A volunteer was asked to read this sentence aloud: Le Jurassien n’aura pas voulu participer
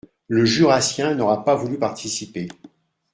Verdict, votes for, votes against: accepted, 2, 0